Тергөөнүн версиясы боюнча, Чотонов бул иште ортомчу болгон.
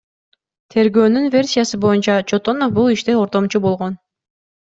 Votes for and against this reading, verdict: 2, 0, accepted